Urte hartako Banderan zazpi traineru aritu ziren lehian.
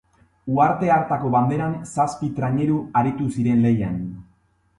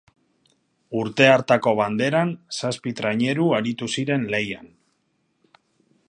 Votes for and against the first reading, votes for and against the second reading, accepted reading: 1, 2, 6, 0, second